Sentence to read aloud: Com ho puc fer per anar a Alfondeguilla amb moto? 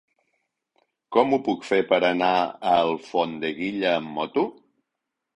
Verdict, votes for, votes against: accepted, 3, 0